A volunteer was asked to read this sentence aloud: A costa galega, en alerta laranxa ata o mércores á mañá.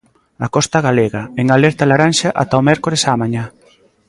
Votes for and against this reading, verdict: 2, 0, accepted